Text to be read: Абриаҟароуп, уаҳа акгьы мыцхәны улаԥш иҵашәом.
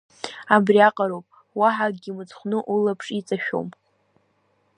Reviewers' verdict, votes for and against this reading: accepted, 2, 0